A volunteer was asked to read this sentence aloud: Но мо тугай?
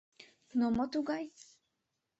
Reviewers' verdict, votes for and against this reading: accepted, 2, 0